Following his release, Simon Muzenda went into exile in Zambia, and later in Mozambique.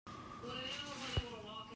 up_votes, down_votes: 0, 2